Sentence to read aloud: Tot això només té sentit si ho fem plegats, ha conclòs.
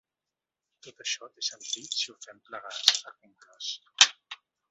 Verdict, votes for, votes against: rejected, 0, 2